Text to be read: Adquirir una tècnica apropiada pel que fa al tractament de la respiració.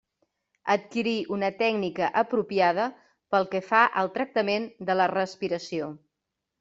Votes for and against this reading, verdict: 0, 2, rejected